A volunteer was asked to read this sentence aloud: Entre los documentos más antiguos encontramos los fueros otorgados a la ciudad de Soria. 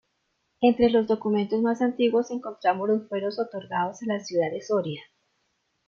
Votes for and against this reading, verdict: 2, 0, accepted